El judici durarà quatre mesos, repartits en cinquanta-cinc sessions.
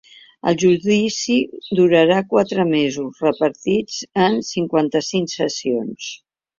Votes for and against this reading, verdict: 3, 0, accepted